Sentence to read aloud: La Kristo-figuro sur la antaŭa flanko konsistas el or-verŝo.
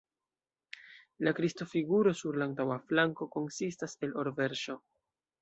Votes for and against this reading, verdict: 2, 0, accepted